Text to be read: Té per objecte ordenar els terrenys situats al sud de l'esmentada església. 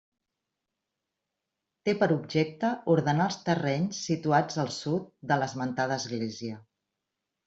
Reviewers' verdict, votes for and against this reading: accepted, 3, 0